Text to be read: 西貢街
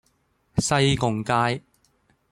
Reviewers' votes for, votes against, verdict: 2, 0, accepted